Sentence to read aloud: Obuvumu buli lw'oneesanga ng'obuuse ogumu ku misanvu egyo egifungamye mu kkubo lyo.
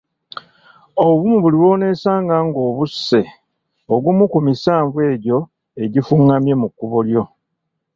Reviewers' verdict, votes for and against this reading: accepted, 2, 1